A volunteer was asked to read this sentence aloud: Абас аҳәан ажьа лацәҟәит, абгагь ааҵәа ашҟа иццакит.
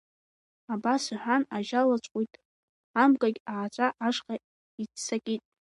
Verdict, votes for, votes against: accepted, 2, 0